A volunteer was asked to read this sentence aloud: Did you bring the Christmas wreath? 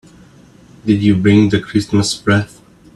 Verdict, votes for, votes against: rejected, 1, 2